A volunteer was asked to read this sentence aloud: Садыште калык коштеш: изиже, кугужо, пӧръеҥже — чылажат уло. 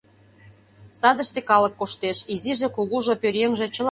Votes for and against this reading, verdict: 0, 2, rejected